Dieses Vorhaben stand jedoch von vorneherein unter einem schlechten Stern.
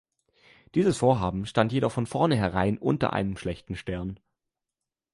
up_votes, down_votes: 2, 0